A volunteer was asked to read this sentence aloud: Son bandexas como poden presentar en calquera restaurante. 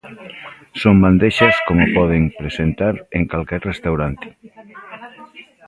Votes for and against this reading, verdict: 0, 2, rejected